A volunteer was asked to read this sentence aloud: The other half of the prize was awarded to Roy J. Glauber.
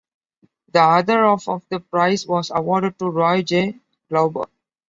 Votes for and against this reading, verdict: 2, 1, accepted